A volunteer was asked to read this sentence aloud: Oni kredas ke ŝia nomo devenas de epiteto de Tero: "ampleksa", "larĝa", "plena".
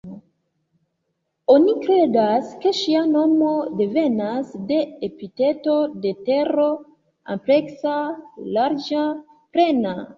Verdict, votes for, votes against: accepted, 2, 1